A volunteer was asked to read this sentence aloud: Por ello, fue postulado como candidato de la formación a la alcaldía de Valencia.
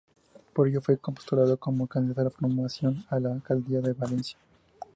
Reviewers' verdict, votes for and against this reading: accepted, 2, 0